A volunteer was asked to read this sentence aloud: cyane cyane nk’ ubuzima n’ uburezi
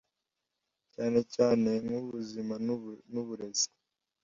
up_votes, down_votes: 1, 2